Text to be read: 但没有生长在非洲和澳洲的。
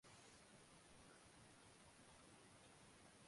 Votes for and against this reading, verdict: 4, 5, rejected